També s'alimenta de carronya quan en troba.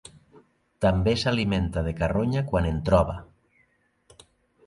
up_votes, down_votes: 2, 0